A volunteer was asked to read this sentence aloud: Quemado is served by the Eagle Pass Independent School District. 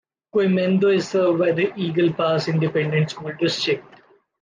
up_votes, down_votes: 2, 1